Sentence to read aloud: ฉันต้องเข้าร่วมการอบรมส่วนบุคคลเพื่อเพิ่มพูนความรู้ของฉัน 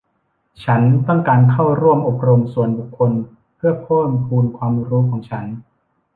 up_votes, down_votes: 1, 2